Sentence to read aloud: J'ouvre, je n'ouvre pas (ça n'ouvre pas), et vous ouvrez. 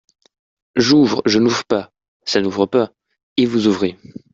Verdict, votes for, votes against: accepted, 2, 0